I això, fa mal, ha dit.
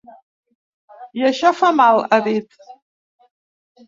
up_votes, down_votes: 3, 0